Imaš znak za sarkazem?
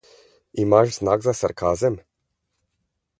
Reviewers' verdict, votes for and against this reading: accepted, 4, 0